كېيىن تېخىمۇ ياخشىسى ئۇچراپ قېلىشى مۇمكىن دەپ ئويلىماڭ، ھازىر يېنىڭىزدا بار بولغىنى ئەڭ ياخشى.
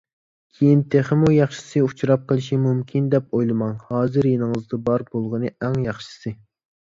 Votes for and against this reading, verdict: 1, 2, rejected